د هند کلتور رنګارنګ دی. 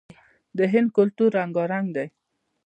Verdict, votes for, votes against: rejected, 0, 2